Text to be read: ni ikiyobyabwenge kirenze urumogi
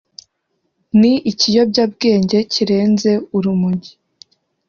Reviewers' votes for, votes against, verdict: 2, 0, accepted